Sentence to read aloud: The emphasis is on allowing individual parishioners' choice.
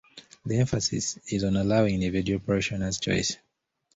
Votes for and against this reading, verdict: 2, 0, accepted